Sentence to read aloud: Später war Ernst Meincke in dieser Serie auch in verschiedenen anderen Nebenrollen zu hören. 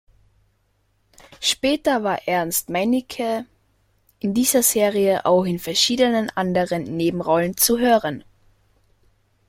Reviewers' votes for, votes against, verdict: 1, 2, rejected